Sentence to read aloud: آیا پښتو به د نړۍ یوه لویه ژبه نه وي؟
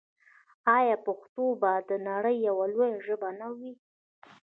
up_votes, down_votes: 1, 2